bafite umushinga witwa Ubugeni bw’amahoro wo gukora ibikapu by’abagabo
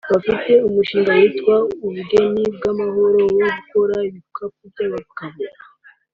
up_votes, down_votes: 2, 0